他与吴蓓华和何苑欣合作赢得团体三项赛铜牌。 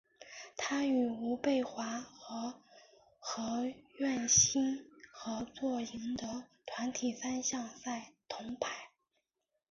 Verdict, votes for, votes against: accepted, 2, 1